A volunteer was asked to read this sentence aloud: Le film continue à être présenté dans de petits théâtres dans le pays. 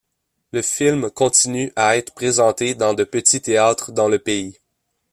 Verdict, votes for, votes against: accepted, 2, 0